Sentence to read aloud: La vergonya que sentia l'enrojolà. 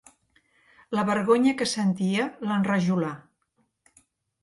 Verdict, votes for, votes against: rejected, 1, 2